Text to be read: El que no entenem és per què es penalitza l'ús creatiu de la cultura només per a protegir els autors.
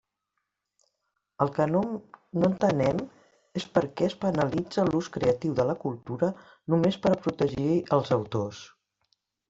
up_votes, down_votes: 0, 2